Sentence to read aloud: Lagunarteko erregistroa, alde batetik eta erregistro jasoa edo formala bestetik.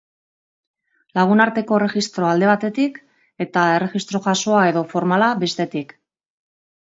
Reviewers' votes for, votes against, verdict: 1, 2, rejected